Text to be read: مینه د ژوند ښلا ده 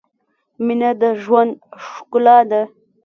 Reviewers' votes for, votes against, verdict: 1, 2, rejected